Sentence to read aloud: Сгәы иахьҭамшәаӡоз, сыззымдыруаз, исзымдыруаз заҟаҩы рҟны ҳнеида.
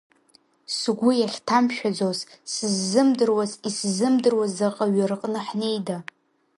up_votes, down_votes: 2, 0